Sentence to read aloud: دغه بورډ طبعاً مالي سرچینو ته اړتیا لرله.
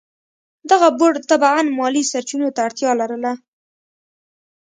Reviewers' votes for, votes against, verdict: 2, 0, accepted